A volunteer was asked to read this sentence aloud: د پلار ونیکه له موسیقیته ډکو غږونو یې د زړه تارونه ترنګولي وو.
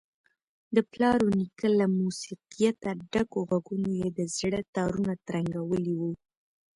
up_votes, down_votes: 2, 0